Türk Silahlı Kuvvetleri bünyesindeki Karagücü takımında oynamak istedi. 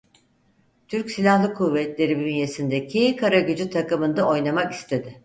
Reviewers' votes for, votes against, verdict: 4, 0, accepted